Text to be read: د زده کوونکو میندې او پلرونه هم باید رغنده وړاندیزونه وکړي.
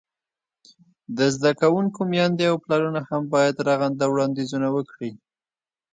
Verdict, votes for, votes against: rejected, 2, 4